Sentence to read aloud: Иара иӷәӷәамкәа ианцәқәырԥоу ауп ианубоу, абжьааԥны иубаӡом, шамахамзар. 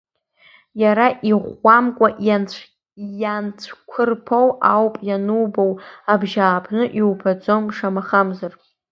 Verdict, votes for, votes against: rejected, 0, 2